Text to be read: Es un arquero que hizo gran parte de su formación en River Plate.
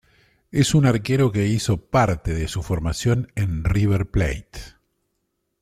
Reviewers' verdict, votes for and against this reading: rejected, 0, 2